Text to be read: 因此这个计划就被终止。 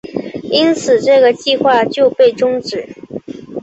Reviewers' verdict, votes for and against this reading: accepted, 2, 0